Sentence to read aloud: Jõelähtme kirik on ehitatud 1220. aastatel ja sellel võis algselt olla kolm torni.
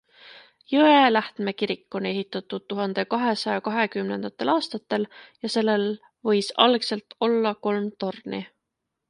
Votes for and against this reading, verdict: 0, 2, rejected